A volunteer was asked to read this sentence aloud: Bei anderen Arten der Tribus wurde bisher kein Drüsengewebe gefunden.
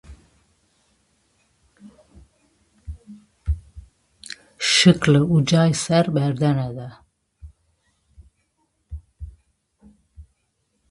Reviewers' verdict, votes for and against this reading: rejected, 0, 2